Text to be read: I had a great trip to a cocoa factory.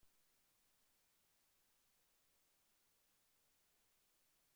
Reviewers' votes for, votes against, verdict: 0, 2, rejected